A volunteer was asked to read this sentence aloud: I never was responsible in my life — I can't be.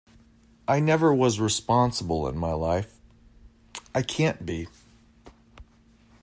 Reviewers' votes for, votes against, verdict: 2, 0, accepted